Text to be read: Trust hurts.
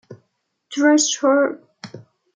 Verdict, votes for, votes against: rejected, 0, 2